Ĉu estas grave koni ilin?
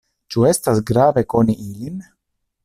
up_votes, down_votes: 2, 0